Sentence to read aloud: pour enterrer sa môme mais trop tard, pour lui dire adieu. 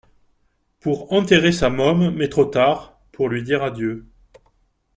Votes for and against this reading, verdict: 2, 0, accepted